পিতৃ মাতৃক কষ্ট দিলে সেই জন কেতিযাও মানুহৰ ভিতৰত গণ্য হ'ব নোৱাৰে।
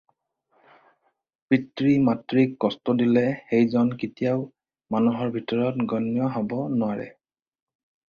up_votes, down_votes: 4, 0